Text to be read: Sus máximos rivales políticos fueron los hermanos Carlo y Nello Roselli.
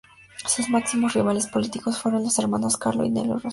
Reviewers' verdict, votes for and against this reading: rejected, 0, 4